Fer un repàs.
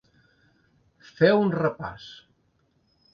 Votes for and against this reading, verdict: 2, 0, accepted